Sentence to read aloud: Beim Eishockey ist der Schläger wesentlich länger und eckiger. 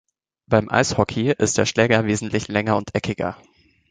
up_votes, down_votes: 2, 0